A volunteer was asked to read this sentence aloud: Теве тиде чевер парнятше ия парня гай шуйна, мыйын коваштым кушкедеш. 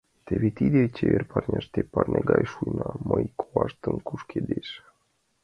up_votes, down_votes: 0, 2